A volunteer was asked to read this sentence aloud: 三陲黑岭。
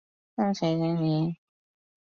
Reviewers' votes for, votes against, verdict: 3, 1, accepted